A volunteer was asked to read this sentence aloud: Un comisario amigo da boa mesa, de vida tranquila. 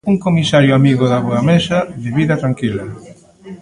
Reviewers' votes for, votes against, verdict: 2, 0, accepted